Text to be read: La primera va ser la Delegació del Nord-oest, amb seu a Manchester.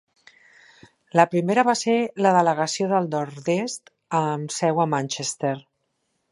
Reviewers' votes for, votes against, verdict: 1, 2, rejected